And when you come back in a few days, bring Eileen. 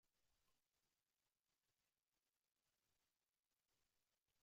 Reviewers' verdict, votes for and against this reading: rejected, 0, 2